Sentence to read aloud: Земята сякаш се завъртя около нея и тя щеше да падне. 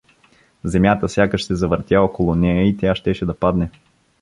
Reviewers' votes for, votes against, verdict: 2, 0, accepted